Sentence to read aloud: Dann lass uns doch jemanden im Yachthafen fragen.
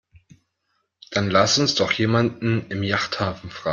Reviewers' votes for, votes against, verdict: 0, 2, rejected